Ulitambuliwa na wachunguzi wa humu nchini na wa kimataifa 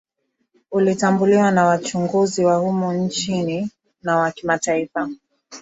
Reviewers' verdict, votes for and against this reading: accepted, 12, 0